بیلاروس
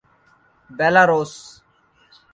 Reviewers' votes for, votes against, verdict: 1, 2, rejected